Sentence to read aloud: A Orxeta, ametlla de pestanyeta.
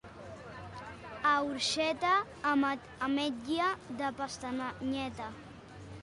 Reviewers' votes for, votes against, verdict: 0, 2, rejected